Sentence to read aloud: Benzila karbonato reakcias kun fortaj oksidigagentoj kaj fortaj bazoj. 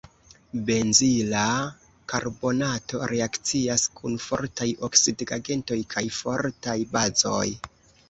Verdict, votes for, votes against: accepted, 2, 0